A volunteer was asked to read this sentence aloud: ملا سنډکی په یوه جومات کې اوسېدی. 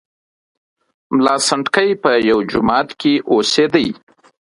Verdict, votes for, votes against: accepted, 2, 1